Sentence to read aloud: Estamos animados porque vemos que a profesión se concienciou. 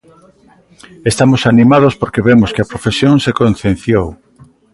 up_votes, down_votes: 2, 0